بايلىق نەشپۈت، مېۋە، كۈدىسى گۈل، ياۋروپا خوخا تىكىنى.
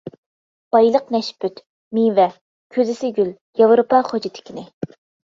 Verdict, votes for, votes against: rejected, 1, 2